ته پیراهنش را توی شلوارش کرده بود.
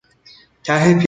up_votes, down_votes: 0, 2